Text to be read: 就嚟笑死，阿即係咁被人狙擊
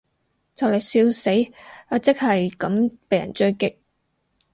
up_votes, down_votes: 2, 2